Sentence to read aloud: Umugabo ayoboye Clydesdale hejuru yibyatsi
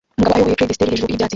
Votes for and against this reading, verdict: 0, 2, rejected